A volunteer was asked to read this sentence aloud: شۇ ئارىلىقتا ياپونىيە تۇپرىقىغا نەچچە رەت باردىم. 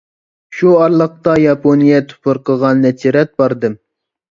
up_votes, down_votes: 2, 0